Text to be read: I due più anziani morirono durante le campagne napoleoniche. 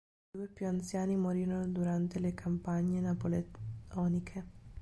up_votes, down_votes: 1, 2